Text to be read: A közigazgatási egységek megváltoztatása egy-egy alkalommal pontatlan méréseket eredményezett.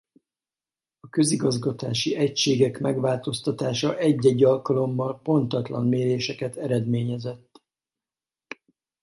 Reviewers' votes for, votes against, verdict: 0, 4, rejected